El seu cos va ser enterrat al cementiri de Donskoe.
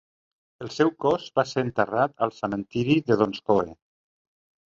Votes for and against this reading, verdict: 2, 0, accepted